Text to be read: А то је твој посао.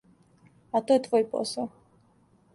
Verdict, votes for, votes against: accepted, 2, 0